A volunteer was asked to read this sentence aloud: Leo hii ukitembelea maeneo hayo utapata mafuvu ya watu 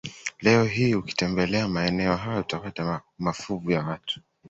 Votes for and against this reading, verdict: 2, 0, accepted